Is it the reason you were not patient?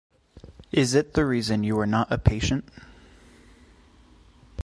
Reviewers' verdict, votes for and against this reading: rejected, 0, 2